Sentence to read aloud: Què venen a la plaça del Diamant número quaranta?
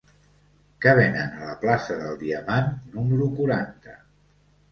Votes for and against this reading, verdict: 0, 2, rejected